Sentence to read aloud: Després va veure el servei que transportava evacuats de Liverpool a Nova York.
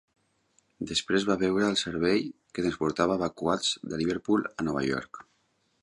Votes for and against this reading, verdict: 0, 2, rejected